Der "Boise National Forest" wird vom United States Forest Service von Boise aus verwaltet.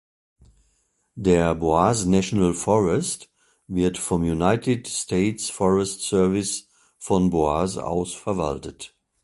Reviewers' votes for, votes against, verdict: 1, 2, rejected